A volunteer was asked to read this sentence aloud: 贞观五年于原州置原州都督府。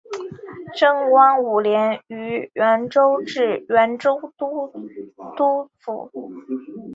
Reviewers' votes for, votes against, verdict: 2, 1, accepted